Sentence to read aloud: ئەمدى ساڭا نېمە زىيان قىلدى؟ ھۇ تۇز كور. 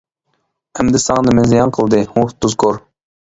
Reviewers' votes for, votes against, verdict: 0, 2, rejected